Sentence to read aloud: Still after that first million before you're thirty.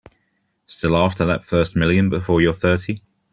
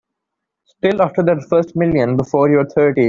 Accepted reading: first